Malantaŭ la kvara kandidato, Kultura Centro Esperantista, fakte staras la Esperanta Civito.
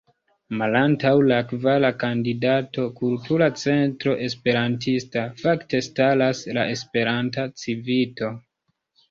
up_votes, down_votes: 0, 2